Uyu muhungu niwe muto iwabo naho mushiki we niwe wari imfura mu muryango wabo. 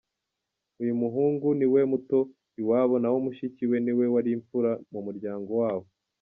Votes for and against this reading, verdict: 0, 2, rejected